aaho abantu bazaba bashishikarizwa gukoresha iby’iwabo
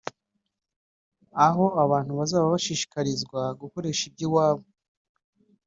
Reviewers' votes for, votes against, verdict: 2, 0, accepted